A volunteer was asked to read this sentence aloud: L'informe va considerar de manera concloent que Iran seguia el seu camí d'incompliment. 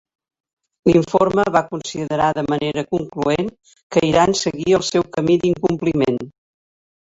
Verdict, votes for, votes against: accepted, 2, 1